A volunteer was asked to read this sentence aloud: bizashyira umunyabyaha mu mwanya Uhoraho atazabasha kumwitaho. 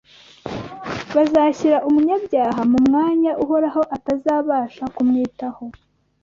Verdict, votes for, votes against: rejected, 1, 2